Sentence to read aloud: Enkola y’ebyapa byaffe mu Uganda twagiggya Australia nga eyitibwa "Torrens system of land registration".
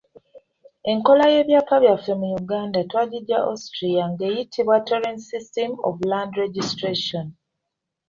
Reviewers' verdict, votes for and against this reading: accepted, 2, 1